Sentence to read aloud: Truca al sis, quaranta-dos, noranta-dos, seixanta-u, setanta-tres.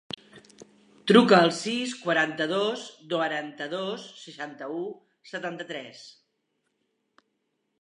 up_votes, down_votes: 1, 2